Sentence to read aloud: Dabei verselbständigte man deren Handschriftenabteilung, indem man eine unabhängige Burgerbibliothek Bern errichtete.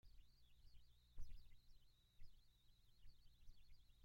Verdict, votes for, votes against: rejected, 0, 2